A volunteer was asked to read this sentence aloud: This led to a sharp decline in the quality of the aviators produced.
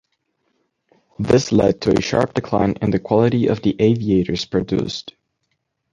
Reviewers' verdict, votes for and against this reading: accepted, 2, 0